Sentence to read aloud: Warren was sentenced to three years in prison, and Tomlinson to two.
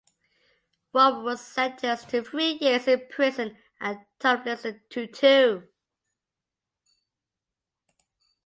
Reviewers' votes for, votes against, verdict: 0, 2, rejected